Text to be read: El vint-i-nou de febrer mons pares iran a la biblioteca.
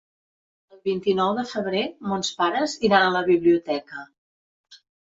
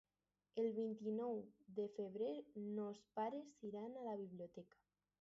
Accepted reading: second